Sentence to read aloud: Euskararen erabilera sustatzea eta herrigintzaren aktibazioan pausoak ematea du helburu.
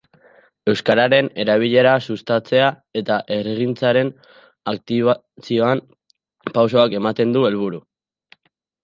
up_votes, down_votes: 0, 2